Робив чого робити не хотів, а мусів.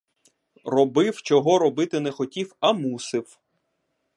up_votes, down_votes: 1, 2